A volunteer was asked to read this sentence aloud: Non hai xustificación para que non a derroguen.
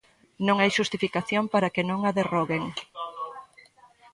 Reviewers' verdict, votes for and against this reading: rejected, 1, 2